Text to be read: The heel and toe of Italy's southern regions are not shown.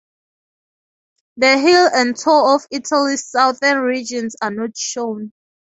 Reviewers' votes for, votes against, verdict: 4, 0, accepted